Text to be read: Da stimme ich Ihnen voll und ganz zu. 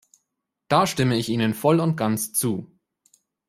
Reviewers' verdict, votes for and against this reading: accepted, 2, 0